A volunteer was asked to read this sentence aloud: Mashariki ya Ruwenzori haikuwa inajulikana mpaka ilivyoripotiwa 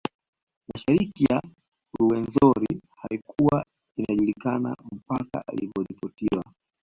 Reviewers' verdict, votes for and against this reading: rejected, 1, 2